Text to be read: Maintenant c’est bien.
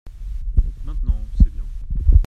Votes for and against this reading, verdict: 1, 2, rejected